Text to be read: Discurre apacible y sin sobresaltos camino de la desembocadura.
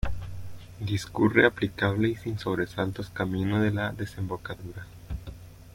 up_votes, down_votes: 0, 2